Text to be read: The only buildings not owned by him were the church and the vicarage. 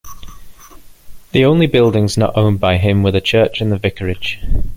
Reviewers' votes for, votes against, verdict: 2, 0, accepted